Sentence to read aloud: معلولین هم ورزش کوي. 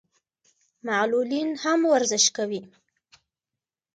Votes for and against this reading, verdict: 2, 1, accepted